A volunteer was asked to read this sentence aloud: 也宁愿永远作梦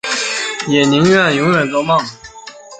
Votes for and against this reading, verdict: 2, 0, accepted